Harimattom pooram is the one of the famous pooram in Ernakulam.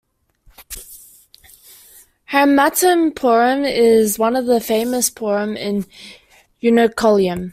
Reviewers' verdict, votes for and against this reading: accepted, 2, 0